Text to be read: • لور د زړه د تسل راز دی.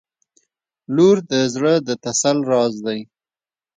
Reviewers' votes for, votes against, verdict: 2, 0, accepted